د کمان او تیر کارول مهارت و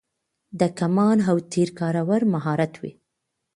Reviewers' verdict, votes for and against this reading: accepted, 2, 0